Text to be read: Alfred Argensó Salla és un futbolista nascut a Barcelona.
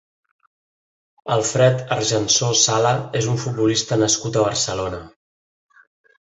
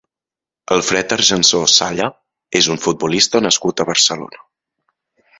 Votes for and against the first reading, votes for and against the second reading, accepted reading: 1, 2, 2, 0, second